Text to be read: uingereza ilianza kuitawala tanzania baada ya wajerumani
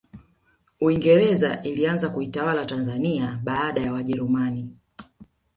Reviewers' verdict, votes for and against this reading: accepted, 2, 0